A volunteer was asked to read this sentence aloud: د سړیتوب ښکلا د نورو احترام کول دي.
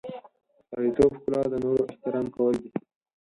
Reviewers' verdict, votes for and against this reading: rejected, 0, 4